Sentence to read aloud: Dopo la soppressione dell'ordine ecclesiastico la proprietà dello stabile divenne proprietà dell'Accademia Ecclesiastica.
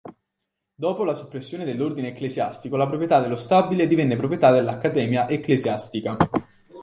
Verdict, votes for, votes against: accepted, 3, 0